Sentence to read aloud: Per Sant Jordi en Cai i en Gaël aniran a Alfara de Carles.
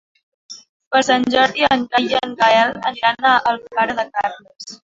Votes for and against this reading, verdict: 1, 2, rejected